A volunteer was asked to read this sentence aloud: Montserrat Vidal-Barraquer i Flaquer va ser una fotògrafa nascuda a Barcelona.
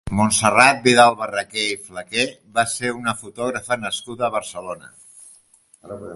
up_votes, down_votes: 2, 0